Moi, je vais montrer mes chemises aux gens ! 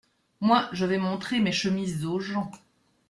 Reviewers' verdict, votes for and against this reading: rejected, 1, 2